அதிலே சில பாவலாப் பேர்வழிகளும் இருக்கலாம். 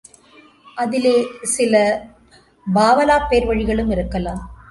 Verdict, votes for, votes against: accepted, 2, 0